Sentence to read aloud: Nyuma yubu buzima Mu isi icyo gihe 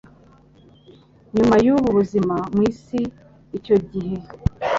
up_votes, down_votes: 3, 0